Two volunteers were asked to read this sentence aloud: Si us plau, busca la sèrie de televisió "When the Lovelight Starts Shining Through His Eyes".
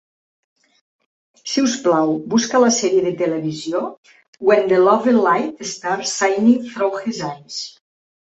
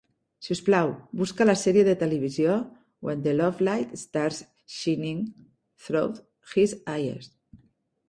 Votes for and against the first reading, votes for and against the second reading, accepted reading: 2, 0, 1, 2, first